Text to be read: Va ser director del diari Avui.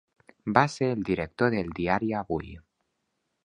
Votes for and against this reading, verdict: 0, 2, rejected